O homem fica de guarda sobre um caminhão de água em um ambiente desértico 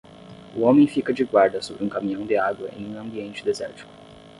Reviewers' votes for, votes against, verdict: 0, 5, rejected